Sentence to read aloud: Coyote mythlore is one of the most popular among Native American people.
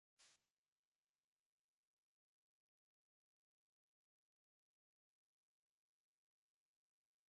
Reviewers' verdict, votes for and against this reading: rejected, 0, 2